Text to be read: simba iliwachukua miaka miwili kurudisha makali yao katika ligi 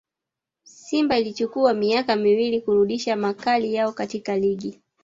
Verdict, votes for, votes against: rejected, 1, 2